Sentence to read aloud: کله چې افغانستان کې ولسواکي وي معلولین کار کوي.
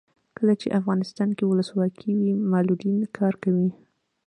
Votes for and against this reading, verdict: 2, 0, accepted